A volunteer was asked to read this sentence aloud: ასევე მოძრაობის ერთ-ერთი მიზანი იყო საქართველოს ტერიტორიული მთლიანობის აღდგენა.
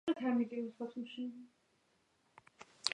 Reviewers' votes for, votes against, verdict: 1, 2, rejected